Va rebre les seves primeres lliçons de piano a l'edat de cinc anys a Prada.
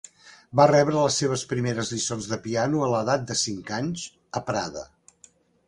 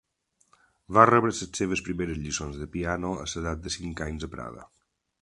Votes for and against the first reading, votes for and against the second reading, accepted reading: 4, 0, 0, 2, first